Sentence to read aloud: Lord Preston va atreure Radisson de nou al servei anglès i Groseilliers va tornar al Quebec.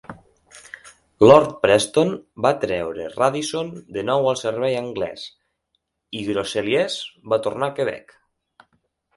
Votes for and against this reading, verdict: 6, 0, accepted